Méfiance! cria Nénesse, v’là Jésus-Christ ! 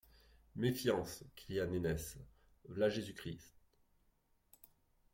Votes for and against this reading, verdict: 2, 0, accepted